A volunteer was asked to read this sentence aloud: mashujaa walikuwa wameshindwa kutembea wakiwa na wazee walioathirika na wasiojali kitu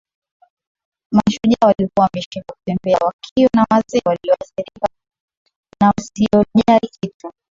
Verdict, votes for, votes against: rejected, 0, 2